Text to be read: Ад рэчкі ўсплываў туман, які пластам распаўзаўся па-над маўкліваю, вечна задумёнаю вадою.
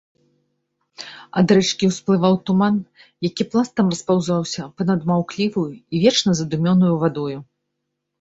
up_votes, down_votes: 1, 2